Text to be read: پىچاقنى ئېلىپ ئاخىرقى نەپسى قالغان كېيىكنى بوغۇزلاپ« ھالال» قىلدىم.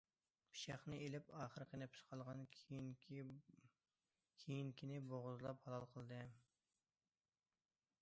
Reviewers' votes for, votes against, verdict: 0, 2, rejected